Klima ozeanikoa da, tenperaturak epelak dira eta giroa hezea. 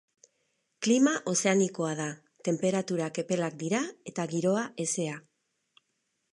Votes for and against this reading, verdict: 4, 0, accepted